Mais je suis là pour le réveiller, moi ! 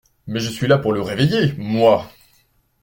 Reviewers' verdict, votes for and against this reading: accepted, 2, 0